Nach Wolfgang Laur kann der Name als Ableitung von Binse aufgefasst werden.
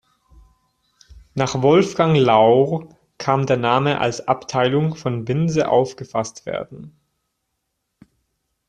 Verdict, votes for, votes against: rejected, 0, 2